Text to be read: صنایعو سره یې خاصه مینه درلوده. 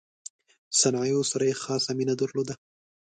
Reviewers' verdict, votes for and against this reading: accepted, 2, 0